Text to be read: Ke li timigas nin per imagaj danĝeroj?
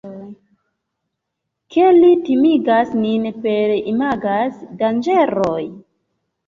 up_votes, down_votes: 2, 1